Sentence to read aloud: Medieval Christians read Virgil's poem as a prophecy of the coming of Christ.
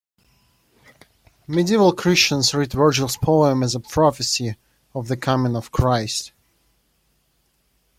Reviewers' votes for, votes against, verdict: 2, 0, accepted